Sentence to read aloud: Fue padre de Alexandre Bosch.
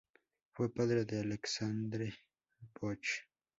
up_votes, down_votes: 2, 0